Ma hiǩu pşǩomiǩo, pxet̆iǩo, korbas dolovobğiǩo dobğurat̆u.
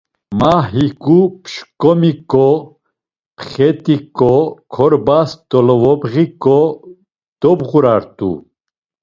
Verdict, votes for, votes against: accepted, 2, 0